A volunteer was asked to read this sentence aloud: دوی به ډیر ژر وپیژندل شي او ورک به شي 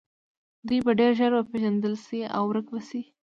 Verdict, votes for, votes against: accepted, 2, 0